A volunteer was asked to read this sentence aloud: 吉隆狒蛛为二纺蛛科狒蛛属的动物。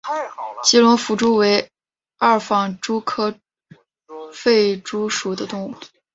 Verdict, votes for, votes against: accepted, 6, 2